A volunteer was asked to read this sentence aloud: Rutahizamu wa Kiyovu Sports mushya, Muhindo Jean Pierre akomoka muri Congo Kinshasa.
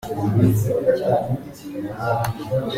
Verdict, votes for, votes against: rejected, 0, 2